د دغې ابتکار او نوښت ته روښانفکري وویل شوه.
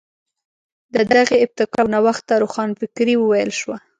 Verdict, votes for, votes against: accepted, 2, 0